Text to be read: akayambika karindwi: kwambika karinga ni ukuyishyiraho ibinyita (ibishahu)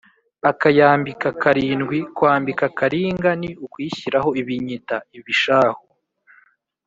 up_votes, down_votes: 3, 0